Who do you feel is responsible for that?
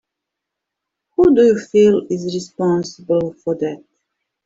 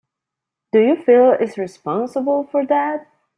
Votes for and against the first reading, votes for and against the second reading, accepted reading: 2, 1, 0, 3, first